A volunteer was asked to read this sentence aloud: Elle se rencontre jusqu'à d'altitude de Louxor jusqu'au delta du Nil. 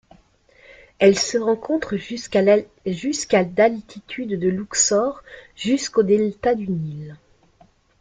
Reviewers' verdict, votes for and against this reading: rejected, 0, 2